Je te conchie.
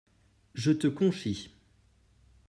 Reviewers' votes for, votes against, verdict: 1, 2, rejected